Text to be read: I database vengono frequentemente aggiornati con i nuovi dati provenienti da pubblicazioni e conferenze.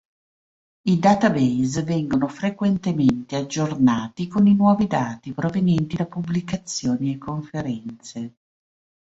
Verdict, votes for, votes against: accepted, 2, 0